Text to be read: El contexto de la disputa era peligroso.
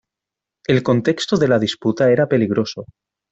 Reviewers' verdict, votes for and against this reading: accepted, 2, 0